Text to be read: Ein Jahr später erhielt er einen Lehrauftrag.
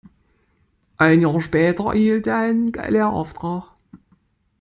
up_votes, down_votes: 1, 2